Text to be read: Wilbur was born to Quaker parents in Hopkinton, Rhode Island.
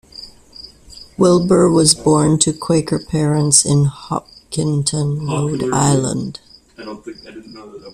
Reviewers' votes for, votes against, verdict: 2, 0, accepted